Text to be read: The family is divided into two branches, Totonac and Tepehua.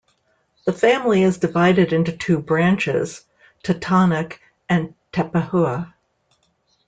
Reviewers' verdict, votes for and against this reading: accepted, 2, 0